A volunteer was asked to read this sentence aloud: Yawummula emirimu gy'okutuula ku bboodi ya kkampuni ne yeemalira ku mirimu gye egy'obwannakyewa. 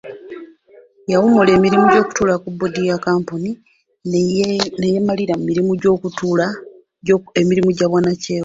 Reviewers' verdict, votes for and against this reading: accepted, 2, 1